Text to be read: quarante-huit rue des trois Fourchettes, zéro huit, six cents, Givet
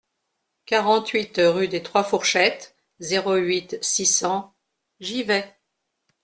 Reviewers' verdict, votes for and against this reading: accepted, 2, 0